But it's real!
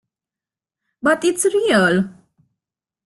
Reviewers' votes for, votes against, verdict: 3, 0, accepted